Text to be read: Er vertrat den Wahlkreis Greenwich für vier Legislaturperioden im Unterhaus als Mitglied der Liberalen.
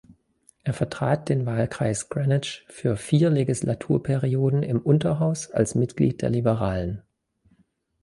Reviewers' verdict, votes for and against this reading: rejected, 1, 2